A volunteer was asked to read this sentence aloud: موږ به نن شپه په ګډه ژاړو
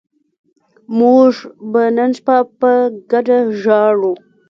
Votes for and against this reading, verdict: 2, 0, accepted